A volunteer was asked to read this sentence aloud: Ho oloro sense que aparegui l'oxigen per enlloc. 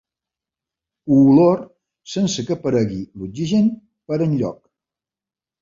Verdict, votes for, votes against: rejected, 0, 2